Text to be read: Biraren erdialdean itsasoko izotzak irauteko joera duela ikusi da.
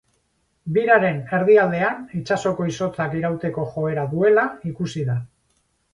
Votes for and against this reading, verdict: 4, 0, accepted